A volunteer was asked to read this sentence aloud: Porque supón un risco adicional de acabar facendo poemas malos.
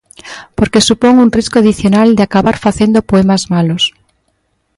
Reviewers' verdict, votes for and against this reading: accepted, 2, 0